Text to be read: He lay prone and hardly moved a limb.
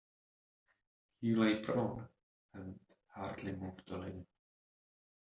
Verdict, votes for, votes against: accepted, 3, 2